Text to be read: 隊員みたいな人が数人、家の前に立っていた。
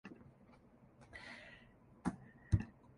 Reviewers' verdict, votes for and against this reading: rejected, 0, 3